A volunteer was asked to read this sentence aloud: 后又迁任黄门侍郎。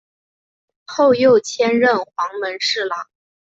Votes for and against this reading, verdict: 2, 0, accepted